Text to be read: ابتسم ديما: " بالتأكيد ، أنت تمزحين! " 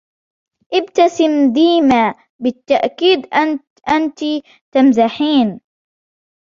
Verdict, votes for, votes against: rejected, 0, 2